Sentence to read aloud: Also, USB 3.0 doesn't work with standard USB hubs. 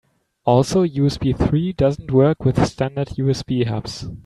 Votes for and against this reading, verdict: 0, 2, rejected